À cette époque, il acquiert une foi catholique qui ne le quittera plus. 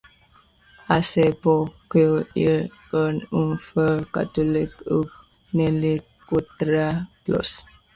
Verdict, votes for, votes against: rejected, 0, 2